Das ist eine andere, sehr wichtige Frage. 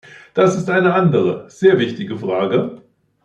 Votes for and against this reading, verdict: 2, 0, accepted